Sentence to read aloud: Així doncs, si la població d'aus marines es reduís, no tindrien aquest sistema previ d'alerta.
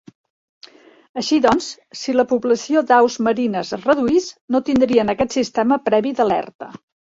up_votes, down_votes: 3, 0